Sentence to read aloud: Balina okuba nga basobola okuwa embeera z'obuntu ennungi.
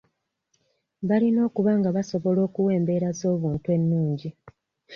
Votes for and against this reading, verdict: 1, 2, rejected